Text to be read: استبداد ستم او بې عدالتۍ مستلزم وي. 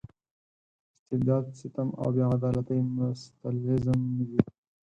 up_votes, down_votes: 2, 6